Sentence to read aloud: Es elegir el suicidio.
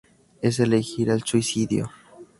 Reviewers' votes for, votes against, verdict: 2, 0, accepted